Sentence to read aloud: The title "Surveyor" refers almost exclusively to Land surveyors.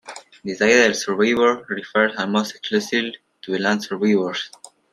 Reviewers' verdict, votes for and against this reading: rejected, 1, 2